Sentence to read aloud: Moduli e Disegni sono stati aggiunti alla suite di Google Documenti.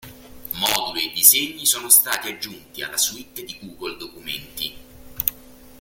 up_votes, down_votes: 2, 0